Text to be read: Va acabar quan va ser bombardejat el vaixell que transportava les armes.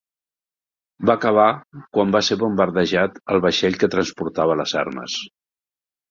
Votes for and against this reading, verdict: 2, 0, accepted